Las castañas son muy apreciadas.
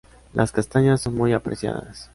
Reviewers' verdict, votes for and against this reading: accepted, 2, 0